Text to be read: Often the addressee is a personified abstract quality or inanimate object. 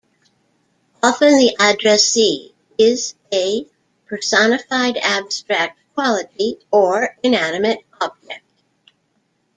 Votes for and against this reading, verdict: 0, 2, rejected